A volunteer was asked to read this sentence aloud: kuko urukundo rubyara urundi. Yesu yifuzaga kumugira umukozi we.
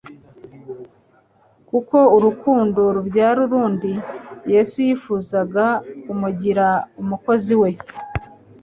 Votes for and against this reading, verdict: 4, 0, accepted